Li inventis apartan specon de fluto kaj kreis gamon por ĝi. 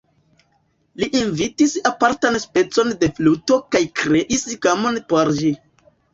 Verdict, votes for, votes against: rejected, 1, 2